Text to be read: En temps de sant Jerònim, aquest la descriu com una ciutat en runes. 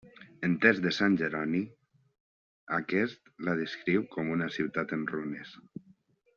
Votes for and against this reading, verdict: 2, 0, accepted